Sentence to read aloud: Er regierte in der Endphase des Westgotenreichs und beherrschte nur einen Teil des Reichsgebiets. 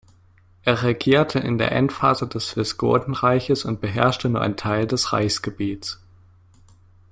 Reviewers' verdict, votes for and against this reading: rejected, 1, 2